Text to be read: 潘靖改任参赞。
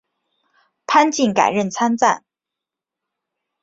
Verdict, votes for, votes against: accepted, 3, 0